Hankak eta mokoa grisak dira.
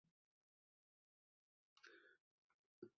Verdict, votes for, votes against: rejected, 0, 2